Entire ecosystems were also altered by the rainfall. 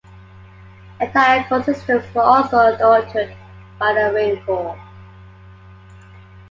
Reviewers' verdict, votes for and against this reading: accepted, 2, 1